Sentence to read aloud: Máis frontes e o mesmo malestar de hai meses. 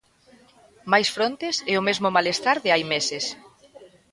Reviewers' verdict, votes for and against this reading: accepted, 2, 0